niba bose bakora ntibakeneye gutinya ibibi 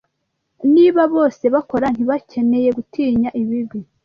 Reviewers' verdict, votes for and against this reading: accepted, 2, 0